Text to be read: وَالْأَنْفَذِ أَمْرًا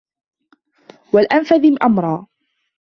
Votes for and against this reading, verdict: 2, 1, accepted